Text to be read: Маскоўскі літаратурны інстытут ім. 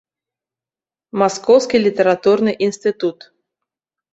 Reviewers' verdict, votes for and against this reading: rejected, 0, 2